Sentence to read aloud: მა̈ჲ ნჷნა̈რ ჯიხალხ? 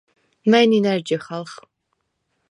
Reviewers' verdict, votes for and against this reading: accepted, 4, 0